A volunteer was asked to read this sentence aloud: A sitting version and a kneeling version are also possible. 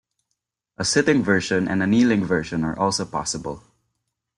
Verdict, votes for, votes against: accepted, 2, 0